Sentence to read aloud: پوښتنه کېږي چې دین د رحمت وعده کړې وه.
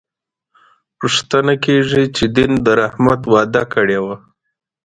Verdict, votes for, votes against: rejected, 0, 2